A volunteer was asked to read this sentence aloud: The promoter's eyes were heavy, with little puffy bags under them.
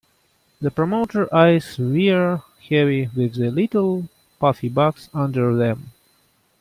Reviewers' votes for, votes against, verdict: 0, 2, rejected